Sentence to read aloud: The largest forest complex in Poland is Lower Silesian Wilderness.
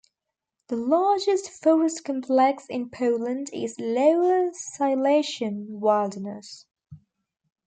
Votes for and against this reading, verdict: 1, 2, rejected